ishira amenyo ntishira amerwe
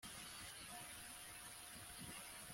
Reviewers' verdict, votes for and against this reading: rejected, 0, 2